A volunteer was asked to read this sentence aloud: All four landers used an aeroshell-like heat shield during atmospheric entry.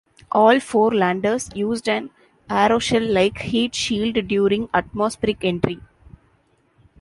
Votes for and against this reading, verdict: 1, 2, rejected